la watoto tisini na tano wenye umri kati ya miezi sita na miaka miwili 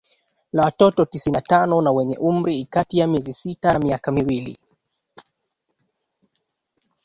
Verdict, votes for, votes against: accepted, 2, 1